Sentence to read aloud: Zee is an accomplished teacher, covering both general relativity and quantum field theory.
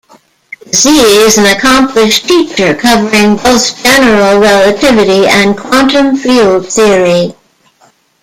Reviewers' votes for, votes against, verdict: 0, 2, rejected